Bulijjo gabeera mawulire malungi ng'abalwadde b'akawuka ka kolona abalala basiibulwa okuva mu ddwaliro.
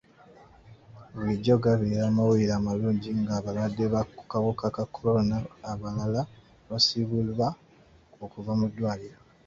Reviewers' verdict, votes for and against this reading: rejected, 0, 2